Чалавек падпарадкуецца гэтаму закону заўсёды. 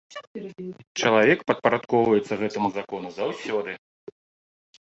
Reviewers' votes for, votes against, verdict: 1, 2, rejected